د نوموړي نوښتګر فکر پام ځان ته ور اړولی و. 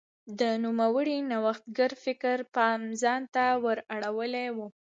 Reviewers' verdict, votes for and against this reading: accepted, 2, 1